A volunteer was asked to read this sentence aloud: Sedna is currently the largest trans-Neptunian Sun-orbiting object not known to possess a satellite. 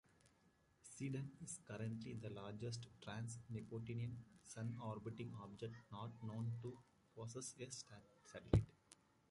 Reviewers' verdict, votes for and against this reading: rejected, 0, 2